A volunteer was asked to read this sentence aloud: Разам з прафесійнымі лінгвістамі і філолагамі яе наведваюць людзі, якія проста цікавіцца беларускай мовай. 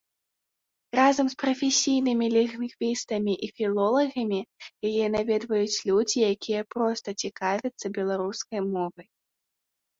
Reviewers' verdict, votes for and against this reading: rejected, 0, 2